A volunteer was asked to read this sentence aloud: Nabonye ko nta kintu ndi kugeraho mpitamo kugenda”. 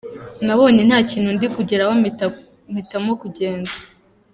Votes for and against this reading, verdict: 1, 2, rejected